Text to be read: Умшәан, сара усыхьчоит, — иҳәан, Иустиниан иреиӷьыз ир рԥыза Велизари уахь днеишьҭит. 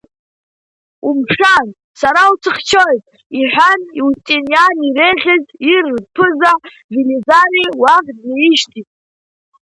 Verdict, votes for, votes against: rejected, 1, 2